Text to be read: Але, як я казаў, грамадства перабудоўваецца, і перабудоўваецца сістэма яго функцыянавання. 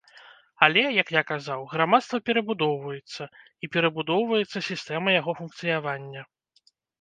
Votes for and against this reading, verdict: 0, 2, rejected